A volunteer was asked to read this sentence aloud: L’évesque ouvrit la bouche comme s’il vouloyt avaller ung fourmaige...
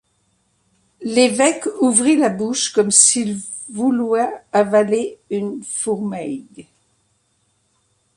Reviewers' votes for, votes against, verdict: 1, 2, rejected